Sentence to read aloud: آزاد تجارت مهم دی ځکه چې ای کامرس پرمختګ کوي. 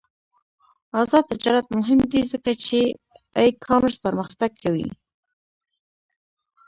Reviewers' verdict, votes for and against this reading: rejected, 1, 2